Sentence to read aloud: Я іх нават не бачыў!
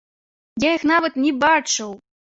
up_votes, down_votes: 2, 0